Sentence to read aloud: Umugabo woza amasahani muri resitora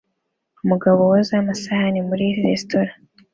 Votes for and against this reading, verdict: 2, 0, accepted